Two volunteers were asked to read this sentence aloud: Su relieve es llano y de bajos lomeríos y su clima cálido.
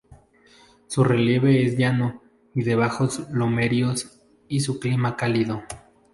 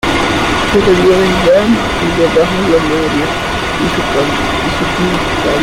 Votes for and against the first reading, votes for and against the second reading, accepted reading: 2, 0, 0, 2, first